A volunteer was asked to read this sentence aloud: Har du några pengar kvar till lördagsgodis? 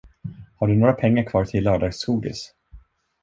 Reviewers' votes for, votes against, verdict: 2, 0, accepted